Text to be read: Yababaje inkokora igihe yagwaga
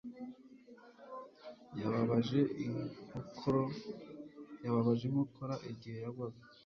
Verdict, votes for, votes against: rejected, 1, 2